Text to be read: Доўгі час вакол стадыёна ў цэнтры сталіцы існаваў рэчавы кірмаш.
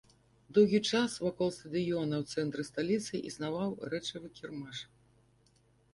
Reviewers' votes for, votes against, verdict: 2, 0, accepted